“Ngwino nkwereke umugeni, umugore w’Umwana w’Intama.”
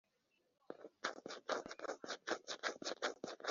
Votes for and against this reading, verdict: 1, 4, rejected